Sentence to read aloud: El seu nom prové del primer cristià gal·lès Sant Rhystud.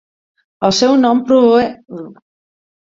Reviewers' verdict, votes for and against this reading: rejected, 0, 4